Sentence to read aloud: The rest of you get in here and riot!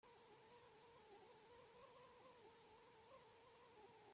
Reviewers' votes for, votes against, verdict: 0, 2, rejected